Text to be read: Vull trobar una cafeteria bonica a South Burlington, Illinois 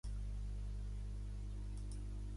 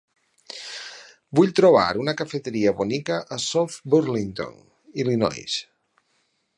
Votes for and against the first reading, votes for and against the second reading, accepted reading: 1, 2, 6, 0, second